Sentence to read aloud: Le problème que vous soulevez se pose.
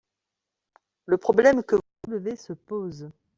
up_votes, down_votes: 3, 4